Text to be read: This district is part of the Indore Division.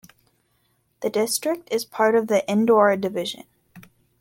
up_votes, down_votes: 0, 2